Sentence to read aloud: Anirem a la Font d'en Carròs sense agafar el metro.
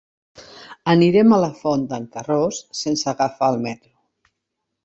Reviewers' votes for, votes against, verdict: 3, 0, accepted